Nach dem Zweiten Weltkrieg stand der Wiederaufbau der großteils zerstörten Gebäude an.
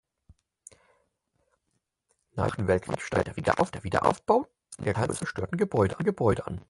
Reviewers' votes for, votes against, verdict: 0, 4, rejected